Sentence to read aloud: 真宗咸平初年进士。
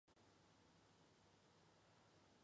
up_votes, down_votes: 0, 2